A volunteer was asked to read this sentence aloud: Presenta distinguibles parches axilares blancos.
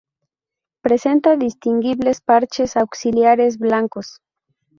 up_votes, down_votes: 0, 2